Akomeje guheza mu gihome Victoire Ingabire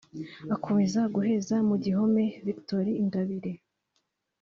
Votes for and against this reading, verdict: 2, 0, accepted